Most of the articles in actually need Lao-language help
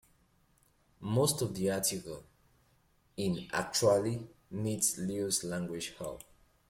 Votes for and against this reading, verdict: 1, 2, rejected